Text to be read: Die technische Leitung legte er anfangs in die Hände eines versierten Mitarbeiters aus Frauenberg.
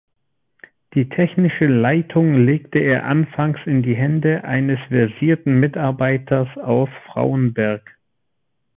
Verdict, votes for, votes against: accepted, 2, 0